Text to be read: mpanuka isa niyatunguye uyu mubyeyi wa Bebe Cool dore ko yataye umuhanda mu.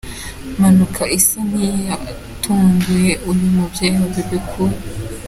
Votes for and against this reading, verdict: 0, 2, rejected